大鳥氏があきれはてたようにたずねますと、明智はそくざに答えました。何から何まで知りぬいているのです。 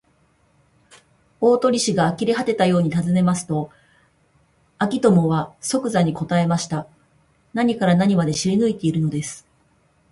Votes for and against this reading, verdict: 2, 2, rejected